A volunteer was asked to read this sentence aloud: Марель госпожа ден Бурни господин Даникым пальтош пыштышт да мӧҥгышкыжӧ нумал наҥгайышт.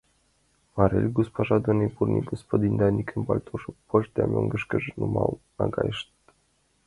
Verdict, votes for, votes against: rejected, 1, 2